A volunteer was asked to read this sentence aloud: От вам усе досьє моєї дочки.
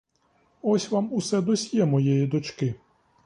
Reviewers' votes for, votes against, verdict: 1, 2, rejected